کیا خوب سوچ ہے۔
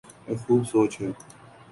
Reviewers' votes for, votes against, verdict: 2, 0, accepted